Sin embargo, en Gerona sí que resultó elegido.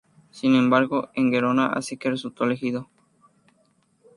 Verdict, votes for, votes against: rejected, 0, 2